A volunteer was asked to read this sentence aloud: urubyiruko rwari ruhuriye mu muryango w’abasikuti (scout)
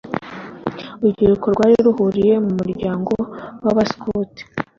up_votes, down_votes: 2, 0